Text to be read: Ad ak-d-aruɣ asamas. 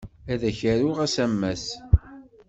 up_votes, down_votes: 1, 2